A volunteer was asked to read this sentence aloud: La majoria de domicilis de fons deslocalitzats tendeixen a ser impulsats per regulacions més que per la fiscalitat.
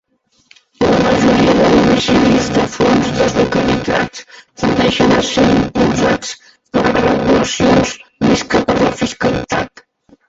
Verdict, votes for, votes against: rejected, 0, 3